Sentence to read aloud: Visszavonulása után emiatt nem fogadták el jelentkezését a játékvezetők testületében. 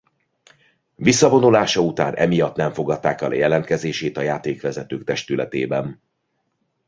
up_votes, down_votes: 0, 2